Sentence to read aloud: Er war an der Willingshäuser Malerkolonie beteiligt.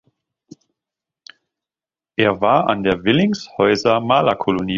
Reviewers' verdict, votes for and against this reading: rejected, 0, 2